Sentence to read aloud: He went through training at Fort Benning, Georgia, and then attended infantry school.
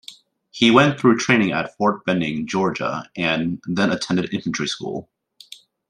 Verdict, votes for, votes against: accepted, 2, 0